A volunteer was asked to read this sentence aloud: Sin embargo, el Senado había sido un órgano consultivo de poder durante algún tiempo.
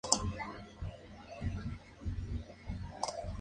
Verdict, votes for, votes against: rejected, 0, 2